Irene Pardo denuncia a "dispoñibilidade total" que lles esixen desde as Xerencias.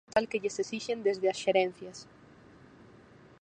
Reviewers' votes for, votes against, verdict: 0, 4, rejected